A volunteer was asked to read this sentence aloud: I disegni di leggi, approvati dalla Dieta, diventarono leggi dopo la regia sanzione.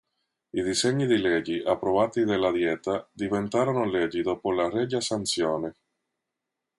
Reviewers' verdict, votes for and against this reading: accepted, 2, 0